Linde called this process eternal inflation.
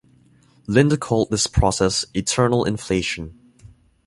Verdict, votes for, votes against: rejected, 0, 2